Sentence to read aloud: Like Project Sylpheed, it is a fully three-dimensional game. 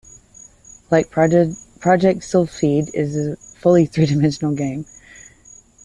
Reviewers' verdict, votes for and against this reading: rejected, 0, 2